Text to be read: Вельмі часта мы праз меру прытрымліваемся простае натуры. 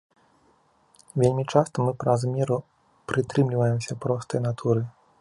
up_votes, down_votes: 2, 0